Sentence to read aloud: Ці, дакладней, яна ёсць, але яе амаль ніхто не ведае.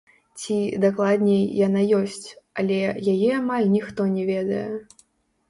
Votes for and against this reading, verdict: 1, 2, rejected